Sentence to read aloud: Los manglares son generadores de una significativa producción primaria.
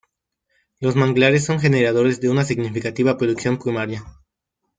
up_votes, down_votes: 0, 2